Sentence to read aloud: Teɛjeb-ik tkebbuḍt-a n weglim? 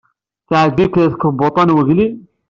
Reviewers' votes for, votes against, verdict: 1, 2, rejected